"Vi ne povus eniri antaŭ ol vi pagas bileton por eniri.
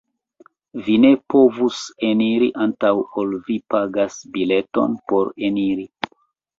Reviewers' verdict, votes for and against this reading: accepted, 2, 0